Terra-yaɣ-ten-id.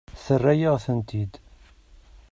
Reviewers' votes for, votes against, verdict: 1, 2, rejected